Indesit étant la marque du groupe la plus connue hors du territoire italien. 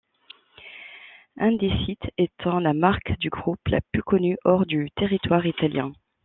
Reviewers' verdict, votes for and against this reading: accepted, 2, 0